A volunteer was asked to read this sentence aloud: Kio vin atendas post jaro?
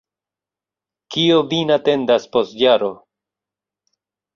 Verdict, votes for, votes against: rejected, 1, 2